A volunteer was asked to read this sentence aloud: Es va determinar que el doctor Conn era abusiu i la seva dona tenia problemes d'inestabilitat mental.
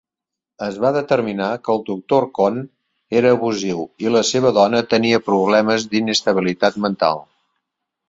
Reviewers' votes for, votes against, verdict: 4, 1, accepted